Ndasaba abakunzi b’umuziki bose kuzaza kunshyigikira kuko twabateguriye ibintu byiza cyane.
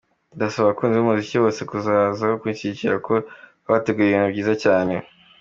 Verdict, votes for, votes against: accepted, 2, 0